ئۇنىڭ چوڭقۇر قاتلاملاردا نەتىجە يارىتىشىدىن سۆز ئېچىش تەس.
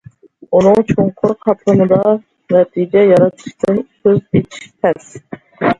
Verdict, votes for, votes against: rejected, 0, 2